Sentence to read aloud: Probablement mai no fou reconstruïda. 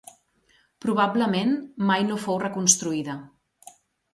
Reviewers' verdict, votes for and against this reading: accepted, 2, 0